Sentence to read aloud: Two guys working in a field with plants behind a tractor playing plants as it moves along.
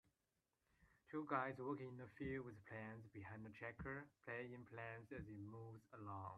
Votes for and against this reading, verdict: 2, 0, accepted